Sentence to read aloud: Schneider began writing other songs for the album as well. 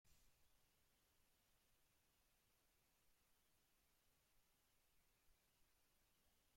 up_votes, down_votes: 0, 2